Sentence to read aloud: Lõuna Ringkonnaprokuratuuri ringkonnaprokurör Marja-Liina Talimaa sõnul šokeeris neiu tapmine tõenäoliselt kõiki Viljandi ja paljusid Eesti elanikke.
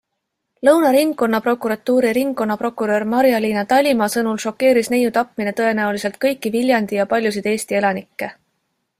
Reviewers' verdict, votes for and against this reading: accepted, 2, 0